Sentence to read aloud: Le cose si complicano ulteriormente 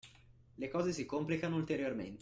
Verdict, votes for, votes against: rejected, 0, 2